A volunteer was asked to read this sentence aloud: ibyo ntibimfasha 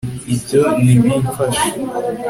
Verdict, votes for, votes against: accepted, 2, 0